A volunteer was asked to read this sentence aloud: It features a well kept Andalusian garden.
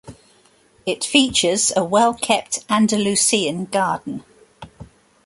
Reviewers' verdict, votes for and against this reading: rejected, 1, 2